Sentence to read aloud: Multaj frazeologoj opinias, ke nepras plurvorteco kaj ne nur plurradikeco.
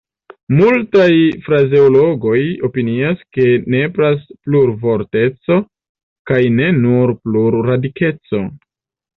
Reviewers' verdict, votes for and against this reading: accepted, 2, 0